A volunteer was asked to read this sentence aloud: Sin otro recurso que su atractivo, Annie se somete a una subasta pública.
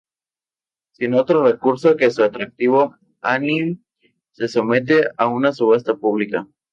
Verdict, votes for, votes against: rejected, 0, 2